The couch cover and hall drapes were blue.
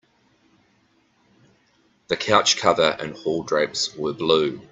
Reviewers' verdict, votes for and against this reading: accepted, 2, 0